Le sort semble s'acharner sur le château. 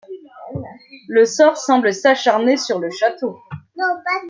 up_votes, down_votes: 2, 0